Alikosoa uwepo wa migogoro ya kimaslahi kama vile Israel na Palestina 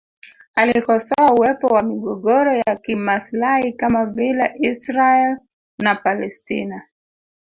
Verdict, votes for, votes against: rejected, 1, 2